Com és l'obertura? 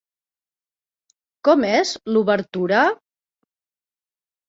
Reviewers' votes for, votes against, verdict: 12, 0, accepted